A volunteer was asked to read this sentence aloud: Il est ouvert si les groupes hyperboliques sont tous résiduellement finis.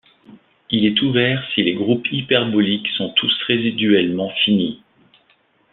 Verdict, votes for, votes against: accepted, 2, 0